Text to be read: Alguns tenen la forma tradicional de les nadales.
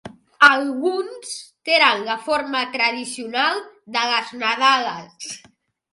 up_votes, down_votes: 0, 2